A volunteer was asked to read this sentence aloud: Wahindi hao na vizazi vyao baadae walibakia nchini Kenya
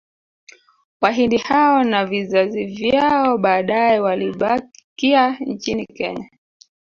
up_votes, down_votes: 2, 0